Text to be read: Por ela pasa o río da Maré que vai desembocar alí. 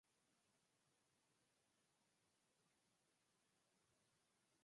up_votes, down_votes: 0, 4